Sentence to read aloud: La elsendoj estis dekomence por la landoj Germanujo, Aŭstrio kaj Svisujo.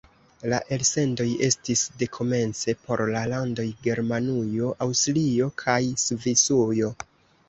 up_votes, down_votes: 1, 2